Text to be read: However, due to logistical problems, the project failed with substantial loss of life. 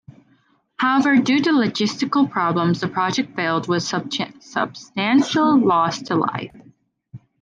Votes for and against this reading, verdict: 0, 2, rejected